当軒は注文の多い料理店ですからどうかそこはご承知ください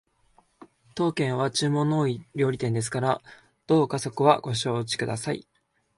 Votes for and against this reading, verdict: 2, 0, accepted